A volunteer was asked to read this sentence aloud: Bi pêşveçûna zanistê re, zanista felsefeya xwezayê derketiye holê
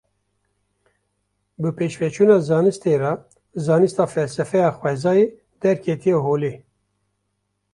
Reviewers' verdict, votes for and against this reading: accepted, 2, 0